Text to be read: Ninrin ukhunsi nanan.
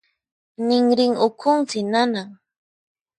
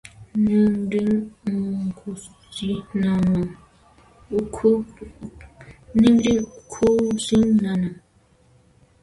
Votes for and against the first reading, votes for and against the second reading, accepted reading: 4, 0, 1, 2, first